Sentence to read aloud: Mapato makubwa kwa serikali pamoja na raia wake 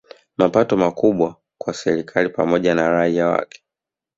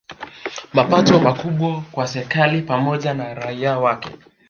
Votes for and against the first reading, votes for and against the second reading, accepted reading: 0, 2, 2, 1, second